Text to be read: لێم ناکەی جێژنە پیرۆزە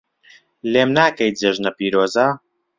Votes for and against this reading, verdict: 2, 0, accepted